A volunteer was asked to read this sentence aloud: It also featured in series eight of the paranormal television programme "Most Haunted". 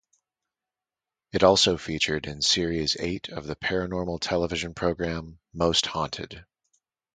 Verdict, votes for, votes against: rejected, 0, 2